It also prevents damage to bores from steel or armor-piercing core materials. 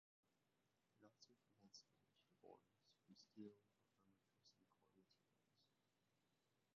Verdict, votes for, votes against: rejected, 0, 3